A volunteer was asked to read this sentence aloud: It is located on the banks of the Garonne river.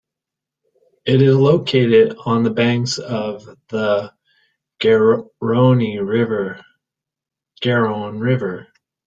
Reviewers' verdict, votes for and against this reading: rejected, 0, 2